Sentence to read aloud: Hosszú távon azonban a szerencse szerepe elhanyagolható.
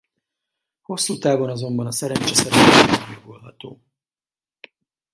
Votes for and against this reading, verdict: 0, 2, rejected